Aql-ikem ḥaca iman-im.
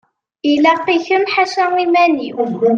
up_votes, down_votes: 0, 2